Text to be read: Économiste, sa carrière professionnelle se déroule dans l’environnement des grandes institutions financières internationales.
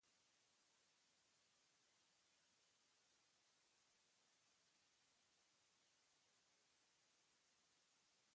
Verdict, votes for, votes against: rejected, 0, 2